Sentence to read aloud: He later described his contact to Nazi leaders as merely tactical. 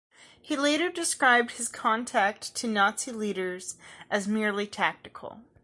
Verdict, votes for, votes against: accepted, 2, 0